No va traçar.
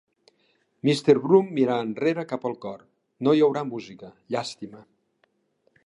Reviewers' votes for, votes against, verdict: 0, 2, rejected